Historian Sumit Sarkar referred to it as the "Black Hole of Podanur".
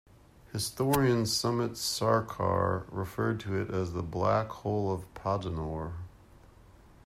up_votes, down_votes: 2, 0